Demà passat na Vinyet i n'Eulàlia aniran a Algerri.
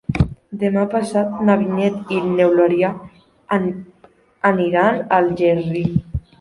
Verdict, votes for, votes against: rejected, 1, 4